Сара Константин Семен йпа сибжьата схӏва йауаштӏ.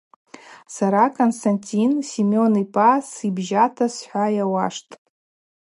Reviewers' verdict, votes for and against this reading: accepted, 2, 0